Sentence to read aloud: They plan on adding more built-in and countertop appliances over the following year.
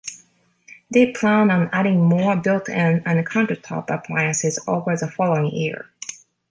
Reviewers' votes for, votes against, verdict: 2, 1, accepted